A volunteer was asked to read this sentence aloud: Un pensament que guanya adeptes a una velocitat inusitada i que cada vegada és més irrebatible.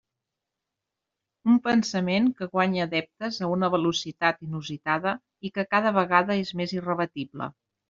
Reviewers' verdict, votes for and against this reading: accepted, 2, 0